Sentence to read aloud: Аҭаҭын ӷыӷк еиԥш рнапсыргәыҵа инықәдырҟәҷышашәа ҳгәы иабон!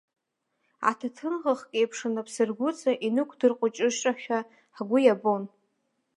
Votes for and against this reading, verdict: 0, 2, rejected